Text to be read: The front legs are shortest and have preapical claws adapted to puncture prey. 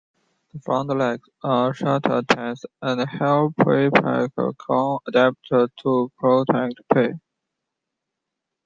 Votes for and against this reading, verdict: 2, 0, accepted